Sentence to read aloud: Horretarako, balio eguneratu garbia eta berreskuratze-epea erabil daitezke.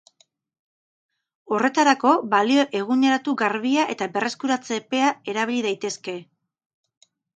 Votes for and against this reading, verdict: 2, 0, accepted